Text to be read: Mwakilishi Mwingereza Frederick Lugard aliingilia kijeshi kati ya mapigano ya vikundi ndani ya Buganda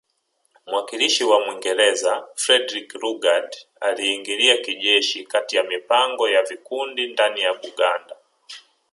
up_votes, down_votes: 0, 2